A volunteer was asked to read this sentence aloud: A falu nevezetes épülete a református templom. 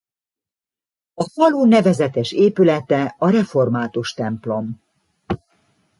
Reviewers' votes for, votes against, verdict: 2, 0, accepted